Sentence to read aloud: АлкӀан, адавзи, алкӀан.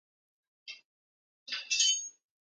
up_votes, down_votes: 0, 2